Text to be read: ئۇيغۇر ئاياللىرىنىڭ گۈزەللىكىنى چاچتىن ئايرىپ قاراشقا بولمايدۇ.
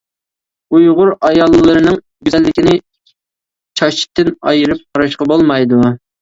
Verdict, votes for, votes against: accepted, 2, 1